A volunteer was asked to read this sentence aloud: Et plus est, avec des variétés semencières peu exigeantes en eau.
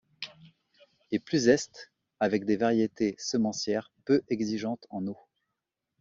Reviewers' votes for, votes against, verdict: 1, 2, rejected